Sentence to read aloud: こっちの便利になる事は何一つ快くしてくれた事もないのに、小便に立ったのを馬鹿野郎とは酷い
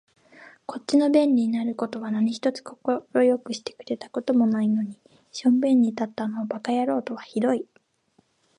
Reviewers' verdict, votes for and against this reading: rejected, 1, 2